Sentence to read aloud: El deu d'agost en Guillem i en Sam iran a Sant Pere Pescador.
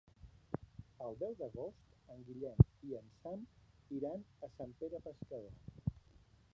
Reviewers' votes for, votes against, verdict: 1, 2, rejected